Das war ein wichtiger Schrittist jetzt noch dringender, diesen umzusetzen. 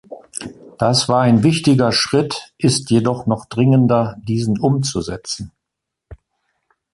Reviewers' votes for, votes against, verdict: 1, 2, rejected